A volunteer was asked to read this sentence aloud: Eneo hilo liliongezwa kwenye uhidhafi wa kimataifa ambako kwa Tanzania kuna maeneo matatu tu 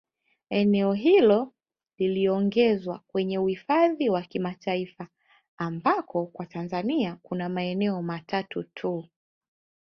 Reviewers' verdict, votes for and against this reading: rejected, 1, 2